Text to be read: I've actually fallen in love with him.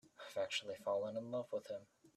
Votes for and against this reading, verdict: 2, 0, accepted